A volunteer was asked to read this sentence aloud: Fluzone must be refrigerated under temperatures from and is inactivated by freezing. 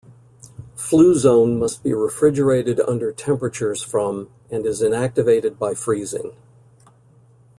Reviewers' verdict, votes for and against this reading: accepted, 2, 0